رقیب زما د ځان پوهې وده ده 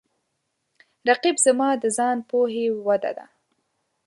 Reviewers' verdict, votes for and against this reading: accepted, 2, 0